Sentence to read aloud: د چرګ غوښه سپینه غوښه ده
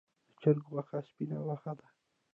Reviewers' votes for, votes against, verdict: 0, 2, rejected